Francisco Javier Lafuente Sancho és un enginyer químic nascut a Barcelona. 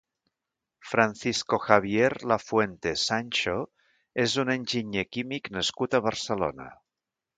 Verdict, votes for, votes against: accepted, 3, 0